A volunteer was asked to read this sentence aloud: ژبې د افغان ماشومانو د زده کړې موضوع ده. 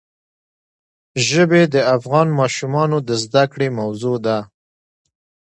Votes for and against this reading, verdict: 2, 1, accepted